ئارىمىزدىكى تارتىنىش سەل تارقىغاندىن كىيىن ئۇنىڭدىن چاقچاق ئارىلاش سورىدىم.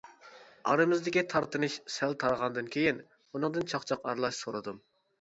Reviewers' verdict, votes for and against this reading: rejected, 0, 2